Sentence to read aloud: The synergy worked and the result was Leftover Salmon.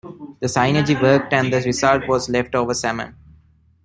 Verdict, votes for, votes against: rejected, 1, 2